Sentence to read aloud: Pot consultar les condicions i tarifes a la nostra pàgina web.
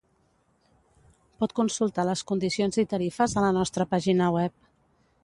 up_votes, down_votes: 2, 0